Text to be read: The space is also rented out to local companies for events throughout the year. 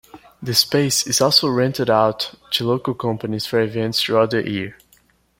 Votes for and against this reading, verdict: 2, 0, accepted